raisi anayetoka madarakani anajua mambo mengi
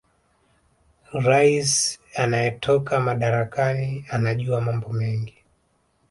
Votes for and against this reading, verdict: 1, 2, rejected